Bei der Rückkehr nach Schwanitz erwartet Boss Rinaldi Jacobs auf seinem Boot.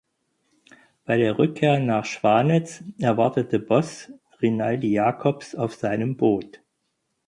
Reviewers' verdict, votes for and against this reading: rejected, 0, 4